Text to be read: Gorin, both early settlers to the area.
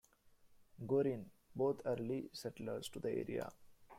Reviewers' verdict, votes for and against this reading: rejected, 0, 2